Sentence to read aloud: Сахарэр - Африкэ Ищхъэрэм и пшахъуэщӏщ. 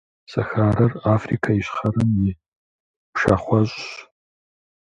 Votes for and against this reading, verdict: 2, 0, accepted